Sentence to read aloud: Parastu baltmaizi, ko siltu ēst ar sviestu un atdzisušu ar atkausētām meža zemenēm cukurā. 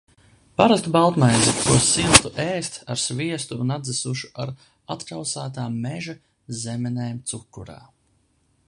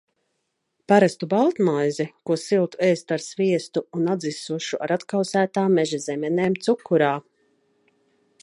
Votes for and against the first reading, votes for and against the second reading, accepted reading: 1, 2, 2, 1, second